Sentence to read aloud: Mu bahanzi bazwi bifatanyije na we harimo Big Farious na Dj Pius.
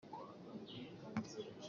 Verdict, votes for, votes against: rejected, 0, 2